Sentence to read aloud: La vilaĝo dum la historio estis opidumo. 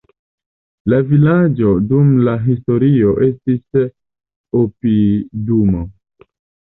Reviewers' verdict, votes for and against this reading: accepted, 2, 1